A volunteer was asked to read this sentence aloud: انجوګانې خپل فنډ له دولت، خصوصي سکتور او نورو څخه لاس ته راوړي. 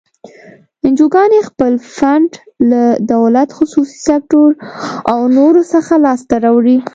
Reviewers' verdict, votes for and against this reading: accepted, 2, 0